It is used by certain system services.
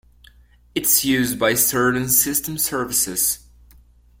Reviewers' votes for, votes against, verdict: 0, 2, rejected